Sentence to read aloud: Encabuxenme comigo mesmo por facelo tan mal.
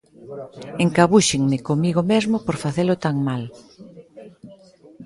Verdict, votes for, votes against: rejected, 0, 2